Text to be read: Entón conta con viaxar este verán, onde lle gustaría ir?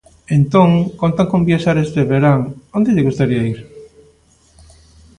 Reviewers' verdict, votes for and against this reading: accepted, 2, 0